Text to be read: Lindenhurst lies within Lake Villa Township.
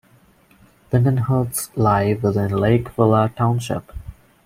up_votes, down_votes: 1, 2